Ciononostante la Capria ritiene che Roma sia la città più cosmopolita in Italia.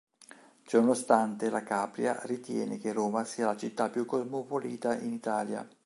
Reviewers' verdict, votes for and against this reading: rejected, 1, 2